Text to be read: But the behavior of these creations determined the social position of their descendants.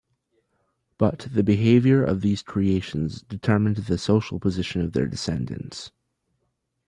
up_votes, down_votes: 2, 0